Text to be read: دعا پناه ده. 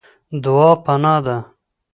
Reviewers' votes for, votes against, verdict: 2, 0, accepted